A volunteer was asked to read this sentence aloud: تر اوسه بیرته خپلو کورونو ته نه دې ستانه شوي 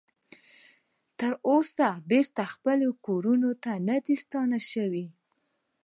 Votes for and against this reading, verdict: 0, 2, rejected